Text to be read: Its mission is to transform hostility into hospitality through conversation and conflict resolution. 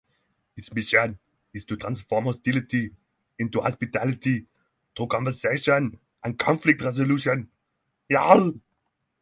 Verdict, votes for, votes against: rejected, 0, 6